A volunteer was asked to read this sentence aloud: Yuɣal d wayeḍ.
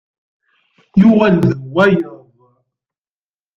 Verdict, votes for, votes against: rejected, 1, 2